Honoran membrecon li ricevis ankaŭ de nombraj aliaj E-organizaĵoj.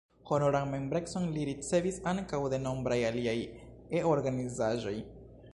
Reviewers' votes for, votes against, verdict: 0, 2, rejected